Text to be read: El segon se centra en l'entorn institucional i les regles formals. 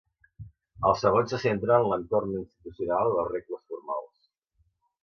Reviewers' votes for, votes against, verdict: 0, 2, rejected